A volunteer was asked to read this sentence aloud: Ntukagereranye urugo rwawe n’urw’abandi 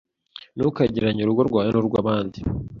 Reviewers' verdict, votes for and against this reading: accepted, 2, 0